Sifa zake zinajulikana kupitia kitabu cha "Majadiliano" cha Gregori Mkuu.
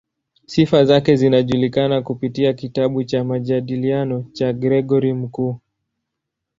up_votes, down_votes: 2, 0